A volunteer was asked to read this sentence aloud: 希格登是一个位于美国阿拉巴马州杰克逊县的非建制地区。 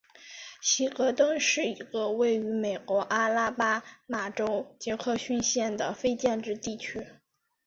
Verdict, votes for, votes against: accepted, 2, 1